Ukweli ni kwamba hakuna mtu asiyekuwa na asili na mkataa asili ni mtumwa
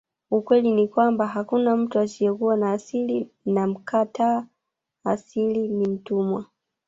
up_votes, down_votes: 1, 2